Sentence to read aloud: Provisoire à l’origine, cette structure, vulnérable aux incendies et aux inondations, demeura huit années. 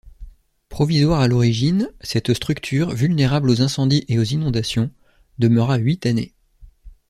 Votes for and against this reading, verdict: 2, 0, accepted